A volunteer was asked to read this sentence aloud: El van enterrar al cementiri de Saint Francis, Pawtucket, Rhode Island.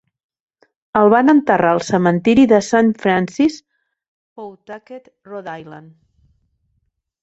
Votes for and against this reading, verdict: 1, 2, rejected